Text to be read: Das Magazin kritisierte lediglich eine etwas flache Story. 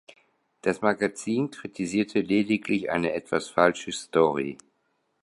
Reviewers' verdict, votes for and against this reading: rejected, 0, 2